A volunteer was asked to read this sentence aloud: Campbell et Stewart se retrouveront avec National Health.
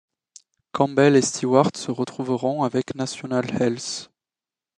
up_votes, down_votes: 2, 0